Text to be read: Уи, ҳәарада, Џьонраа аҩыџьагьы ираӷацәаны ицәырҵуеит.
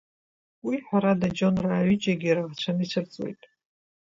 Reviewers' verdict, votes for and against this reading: rejected, 1, 2